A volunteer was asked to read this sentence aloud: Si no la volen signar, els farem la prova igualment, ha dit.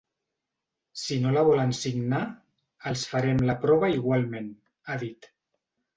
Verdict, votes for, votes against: accepted, 4, 0